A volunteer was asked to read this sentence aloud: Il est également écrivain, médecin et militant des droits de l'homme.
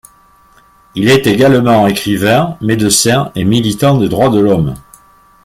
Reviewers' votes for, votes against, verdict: 0, 2, rejected